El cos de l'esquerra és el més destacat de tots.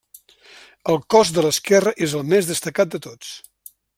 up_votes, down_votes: 3, 0